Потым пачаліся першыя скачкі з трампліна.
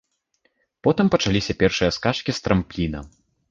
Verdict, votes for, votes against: accepted, 2, 1